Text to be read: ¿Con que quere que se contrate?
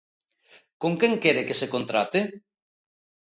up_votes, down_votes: 1, 2